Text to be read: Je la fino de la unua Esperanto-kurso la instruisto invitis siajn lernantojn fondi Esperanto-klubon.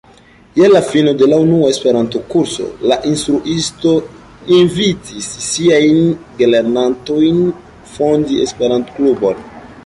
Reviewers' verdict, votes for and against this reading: rejected, 0, 2